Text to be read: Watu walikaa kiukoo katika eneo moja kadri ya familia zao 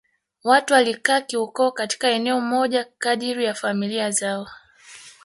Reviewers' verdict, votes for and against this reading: rejected, 0, 2